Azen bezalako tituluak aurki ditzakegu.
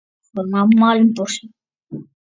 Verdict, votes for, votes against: rejected, 0, 3